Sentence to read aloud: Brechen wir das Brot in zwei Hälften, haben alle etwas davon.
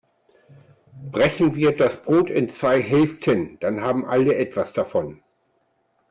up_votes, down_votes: 0, 2